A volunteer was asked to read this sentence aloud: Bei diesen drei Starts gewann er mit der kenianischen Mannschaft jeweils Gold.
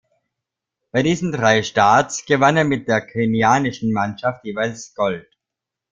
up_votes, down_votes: 1, 2